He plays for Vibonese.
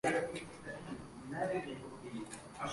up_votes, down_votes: 1, 2